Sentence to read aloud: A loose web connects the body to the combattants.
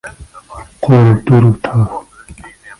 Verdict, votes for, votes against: rejected, 0, 2